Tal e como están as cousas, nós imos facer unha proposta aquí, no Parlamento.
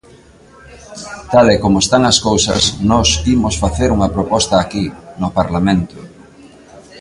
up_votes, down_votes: 3, 0